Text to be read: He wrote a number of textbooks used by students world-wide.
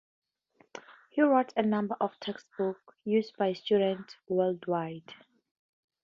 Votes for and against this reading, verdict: 2, 2, rejected